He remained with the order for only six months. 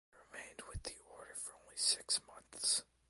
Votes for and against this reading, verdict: 1, 2, rejected